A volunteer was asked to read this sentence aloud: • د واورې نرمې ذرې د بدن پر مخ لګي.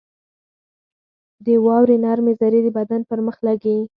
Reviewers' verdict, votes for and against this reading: accepted, 4, 2